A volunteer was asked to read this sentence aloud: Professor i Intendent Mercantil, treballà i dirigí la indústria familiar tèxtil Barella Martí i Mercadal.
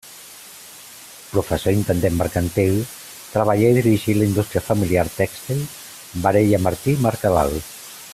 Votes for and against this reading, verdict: 2, 0, accepted